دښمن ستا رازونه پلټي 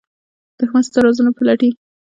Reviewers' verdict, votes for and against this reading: accepted, 2, 0